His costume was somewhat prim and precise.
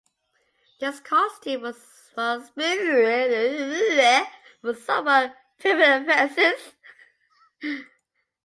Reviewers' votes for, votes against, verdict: 0, 2, rejected